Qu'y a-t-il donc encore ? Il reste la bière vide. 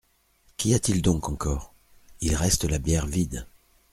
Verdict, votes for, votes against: accepted, 2, 0